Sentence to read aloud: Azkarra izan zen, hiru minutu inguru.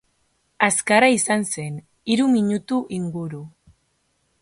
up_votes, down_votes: 2, 0